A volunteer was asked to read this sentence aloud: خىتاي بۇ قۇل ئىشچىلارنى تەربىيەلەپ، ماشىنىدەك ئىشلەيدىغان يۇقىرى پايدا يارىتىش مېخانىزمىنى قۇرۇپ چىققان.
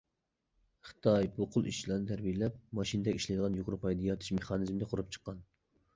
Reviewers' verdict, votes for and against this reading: rejected, 0, 2